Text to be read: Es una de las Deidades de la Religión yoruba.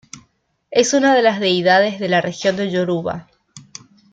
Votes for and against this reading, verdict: 1, 2, rejected